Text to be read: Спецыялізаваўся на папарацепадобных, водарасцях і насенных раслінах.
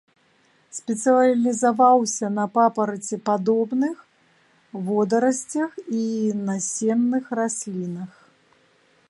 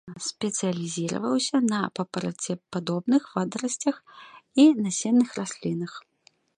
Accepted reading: second